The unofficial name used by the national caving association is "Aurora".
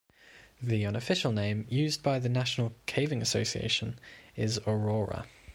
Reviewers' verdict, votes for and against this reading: accepted, 2, 0